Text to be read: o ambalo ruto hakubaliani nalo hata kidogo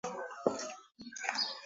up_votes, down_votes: 0, 2